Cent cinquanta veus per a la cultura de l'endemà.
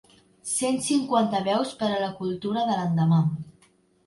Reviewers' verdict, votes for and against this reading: accepted, 2, 0